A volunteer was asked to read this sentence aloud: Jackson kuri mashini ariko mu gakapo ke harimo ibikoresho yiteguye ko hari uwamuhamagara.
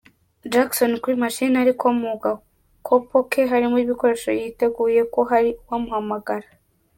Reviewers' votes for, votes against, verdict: 2, 3, rejected